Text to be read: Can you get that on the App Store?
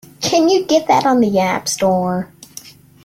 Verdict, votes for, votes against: accepted, 2, 0